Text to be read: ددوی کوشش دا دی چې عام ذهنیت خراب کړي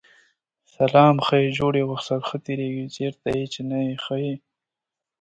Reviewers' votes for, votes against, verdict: 0, 2, rejected